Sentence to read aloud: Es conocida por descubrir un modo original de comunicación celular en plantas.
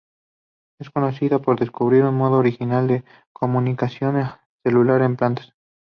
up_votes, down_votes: 4, 0